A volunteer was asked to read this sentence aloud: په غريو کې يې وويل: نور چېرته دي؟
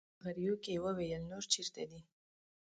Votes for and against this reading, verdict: 0, 2, rejected